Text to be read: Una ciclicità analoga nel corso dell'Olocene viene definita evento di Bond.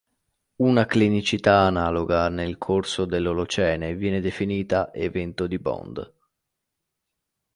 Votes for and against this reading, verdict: 2, 1, accepted